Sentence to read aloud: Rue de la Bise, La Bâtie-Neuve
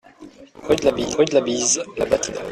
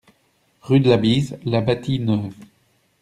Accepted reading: second